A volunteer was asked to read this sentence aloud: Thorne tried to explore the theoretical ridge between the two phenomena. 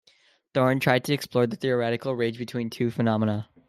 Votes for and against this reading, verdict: 1, 2, rejected